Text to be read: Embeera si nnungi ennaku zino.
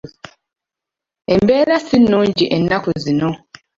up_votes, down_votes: 2, 0